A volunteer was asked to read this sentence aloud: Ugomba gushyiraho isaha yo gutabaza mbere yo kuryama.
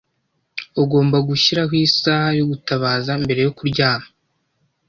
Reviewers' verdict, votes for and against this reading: accepted, 2, 0